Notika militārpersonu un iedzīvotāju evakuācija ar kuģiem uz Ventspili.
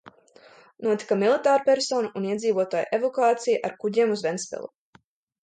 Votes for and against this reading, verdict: 2, 0, accepted